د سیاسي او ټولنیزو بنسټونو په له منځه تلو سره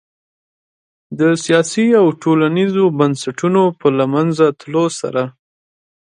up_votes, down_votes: 2, 0